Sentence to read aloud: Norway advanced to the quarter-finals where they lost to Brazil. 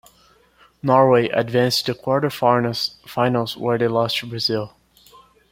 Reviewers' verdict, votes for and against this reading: rejected, 0, 2